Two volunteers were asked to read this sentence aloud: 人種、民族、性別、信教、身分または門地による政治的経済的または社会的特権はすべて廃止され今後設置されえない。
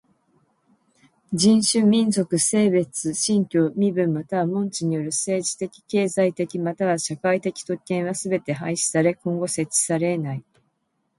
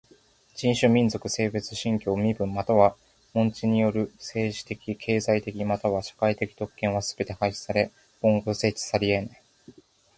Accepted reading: second